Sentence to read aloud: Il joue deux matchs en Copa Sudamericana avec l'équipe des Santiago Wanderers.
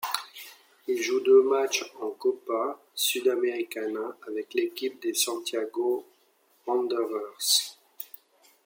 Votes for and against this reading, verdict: 2, 0, accepted